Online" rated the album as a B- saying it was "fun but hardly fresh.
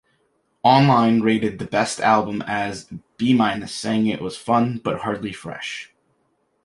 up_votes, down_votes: 0, 2